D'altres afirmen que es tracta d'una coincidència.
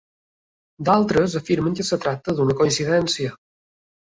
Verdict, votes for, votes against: rejected, 1, 2